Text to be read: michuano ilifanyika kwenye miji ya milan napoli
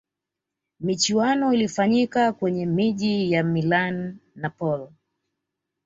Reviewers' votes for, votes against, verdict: 2, 0, accepted